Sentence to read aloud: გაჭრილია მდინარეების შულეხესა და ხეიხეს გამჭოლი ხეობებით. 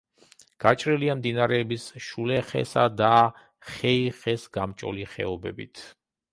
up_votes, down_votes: 2, 0